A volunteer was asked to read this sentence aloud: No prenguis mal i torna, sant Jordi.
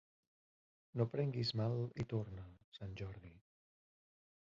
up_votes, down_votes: 1, 2